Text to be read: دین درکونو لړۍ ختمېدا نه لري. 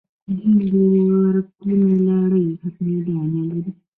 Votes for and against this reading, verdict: 2, 1, accepted